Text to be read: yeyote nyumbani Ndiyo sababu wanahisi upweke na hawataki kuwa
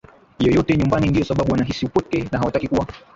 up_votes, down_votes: 1, 2